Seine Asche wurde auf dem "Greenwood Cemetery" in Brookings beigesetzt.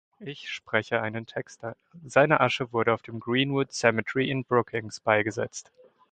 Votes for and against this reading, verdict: 0, 2, rejected